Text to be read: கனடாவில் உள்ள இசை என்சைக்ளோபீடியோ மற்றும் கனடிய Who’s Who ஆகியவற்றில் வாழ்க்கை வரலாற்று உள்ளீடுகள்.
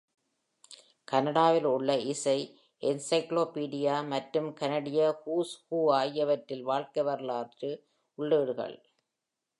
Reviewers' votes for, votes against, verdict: 2, 0, accepted